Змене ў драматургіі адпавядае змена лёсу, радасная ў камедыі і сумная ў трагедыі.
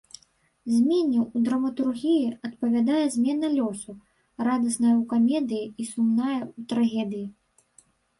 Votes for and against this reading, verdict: 1, 2, rejected